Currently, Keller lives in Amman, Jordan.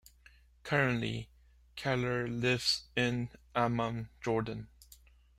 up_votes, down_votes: 0, 2